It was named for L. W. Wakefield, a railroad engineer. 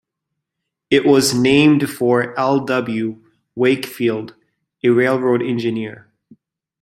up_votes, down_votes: 2, 1